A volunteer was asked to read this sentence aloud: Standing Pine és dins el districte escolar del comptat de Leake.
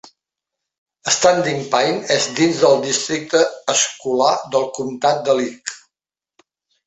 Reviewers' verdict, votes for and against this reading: rejected, 1, 3